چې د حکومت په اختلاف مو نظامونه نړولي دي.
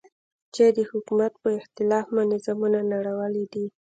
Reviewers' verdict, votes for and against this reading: accepted, 2, 0